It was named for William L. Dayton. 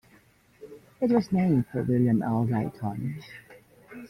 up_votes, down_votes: 2, 1